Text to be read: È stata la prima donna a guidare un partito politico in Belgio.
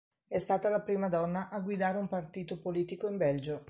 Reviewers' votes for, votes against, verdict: 2, 0, accepted